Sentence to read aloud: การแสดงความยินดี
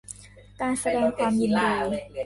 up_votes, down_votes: 0, 2